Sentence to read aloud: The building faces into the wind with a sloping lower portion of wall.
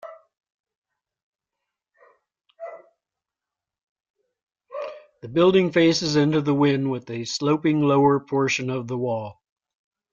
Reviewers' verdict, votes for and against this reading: rejected, 0, 2